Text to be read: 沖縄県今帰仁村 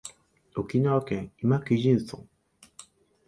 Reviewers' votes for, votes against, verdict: 1, 2, rejected